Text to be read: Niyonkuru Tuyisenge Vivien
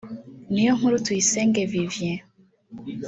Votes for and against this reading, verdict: 3, 2, accepted